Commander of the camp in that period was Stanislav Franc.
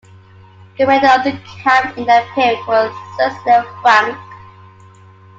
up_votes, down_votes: 0, 2